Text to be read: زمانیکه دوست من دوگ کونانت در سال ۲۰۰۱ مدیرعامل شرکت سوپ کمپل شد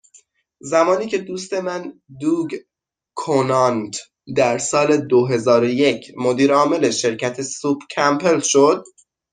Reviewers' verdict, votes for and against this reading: rejected, 0, 2